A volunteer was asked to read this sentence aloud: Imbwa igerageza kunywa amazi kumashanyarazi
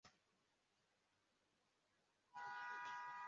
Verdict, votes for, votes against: rejected, 0, 2